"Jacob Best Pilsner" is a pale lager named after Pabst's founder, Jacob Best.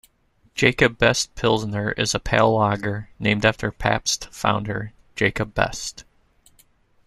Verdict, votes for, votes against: accepted, 2, 0